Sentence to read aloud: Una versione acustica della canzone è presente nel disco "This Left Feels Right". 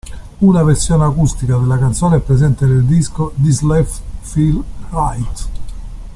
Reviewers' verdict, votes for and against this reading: rejected, 0, 2